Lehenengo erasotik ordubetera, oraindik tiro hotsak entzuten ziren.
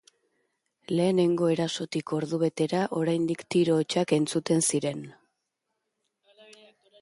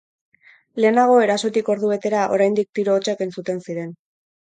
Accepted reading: first